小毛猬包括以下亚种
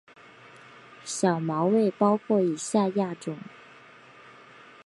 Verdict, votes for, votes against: accepted, 3, 0